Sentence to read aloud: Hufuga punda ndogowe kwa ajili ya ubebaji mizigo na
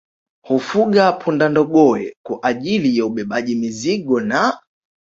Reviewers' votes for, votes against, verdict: 2, 0, accepted